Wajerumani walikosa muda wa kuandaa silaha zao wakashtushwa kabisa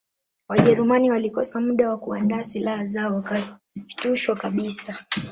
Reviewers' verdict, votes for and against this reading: rejected, 1, 2